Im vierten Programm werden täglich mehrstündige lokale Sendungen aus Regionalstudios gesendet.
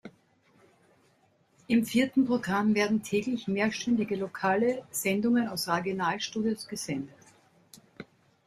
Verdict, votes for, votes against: rejected, 1, 2